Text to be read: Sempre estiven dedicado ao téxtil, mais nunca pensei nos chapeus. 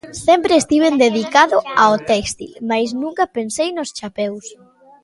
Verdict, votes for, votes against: accepted, 2, 0